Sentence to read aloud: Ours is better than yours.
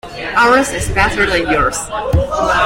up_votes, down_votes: 1, 2